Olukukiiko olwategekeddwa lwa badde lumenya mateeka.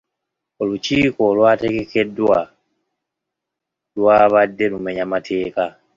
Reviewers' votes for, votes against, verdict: 2, 0, accepted